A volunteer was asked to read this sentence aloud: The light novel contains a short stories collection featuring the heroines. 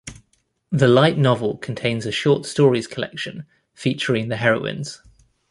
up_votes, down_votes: 2, 0